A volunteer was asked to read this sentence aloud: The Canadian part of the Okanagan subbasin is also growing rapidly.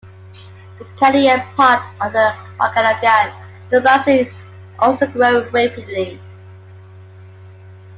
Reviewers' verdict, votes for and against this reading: rejected, 0, 2